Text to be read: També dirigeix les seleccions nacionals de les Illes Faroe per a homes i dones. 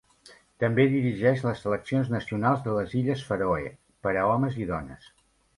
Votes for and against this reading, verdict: 2, 0, accepted